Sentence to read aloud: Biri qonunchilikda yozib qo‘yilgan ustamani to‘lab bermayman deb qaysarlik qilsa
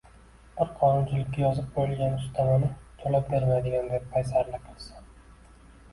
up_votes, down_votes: 1, 2